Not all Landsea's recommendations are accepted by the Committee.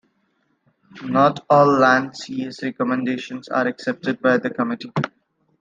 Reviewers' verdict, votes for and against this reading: accepted, 2, 0